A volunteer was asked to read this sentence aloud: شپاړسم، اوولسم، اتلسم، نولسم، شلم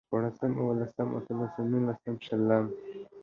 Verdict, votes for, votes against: accepted, 2, 0